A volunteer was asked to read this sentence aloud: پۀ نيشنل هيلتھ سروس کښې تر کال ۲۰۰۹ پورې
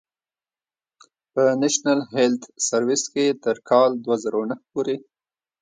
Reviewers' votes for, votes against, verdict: 0, 2, rejected